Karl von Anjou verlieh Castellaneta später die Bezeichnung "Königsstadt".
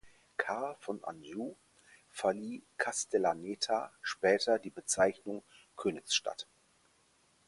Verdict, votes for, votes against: accepted, 4, 0